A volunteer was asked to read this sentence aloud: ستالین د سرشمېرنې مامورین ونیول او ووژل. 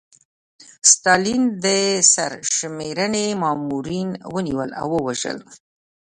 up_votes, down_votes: 1, 2